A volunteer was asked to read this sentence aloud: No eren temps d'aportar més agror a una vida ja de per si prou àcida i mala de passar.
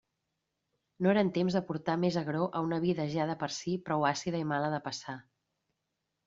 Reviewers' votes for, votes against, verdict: 2, 0, accepted